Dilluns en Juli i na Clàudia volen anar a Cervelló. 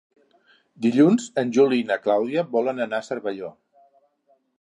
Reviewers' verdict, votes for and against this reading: accepted, 4, 0